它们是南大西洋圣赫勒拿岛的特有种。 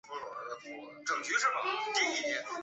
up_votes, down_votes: 1, 3